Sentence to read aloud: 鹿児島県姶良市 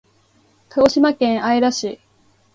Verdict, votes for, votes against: accepted, 2, 0